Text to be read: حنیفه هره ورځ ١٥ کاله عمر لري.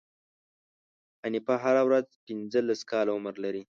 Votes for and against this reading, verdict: 0, 2, rejected